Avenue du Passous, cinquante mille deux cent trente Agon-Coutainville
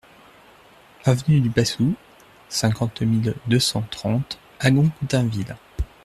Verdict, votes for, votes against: accepted, 2, 0